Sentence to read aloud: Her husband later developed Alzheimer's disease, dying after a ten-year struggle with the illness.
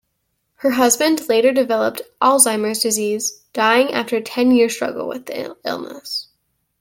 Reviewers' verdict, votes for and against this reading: rejected, 0, 2